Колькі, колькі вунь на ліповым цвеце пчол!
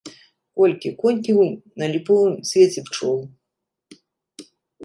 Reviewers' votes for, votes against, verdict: 1, 3, rejected